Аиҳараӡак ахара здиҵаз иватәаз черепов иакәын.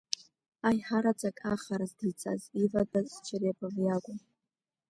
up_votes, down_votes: 1, 2